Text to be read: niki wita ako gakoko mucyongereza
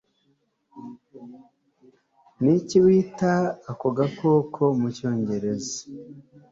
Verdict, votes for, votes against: accepted, 2, 0